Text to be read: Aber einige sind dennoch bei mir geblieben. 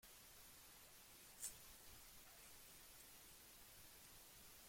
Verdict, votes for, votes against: rejected, 0, 2